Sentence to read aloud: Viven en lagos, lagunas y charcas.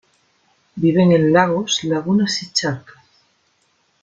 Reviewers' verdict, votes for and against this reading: accepted, 2, 1